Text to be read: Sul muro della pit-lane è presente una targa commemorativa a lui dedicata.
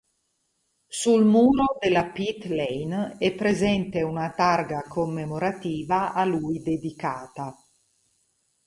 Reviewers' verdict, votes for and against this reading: accepted, 2, 0